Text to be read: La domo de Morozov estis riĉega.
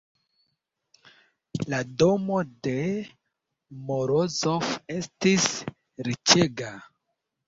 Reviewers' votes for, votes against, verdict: 2, 0, accepted